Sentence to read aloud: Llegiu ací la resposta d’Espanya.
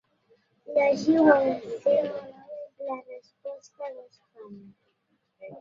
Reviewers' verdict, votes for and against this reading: rejected, 0, 2